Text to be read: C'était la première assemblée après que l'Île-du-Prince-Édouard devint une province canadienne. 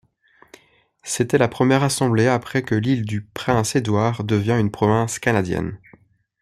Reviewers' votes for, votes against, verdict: 1, 2, rejected